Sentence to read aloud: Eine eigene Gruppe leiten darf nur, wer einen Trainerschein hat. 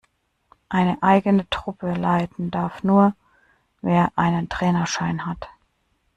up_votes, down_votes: 0, 2